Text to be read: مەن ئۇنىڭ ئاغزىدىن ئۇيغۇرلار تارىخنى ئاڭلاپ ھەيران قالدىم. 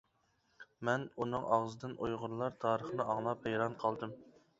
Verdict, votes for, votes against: accepted, 2, 0